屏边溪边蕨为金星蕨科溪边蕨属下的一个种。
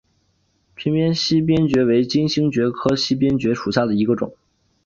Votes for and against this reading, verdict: 0, 2, rejected